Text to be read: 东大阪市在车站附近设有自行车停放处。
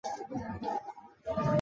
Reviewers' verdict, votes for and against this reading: rejected, 0, 2